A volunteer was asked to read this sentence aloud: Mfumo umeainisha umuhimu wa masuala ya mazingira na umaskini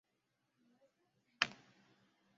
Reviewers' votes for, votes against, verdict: 0, 2, rejected